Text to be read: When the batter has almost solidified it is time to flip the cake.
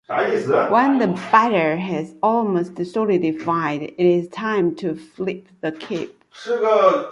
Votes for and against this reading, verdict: 0, 2, rejected